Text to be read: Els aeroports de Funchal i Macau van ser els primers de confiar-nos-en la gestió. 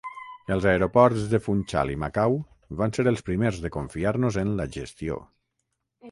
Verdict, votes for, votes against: rejected, 3, 3